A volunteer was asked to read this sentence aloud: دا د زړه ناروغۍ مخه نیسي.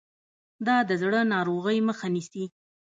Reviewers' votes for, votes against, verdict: 0, 2, rejected